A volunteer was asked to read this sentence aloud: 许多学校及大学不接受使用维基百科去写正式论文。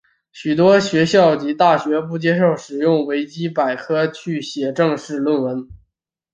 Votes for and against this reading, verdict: 5, 0, accepted